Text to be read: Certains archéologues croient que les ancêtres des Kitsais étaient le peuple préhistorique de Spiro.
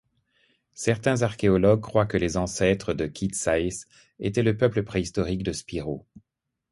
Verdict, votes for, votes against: rejected, 0, 2